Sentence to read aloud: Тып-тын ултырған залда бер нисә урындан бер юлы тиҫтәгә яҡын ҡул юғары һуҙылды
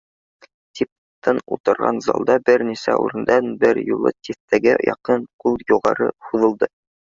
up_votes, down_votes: 0, 2